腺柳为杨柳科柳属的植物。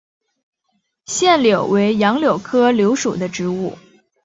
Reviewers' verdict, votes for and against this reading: accepted, 2, 0